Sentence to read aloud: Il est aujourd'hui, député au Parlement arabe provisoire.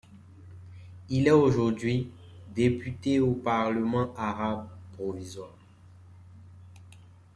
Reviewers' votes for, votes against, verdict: 2, 0, accepted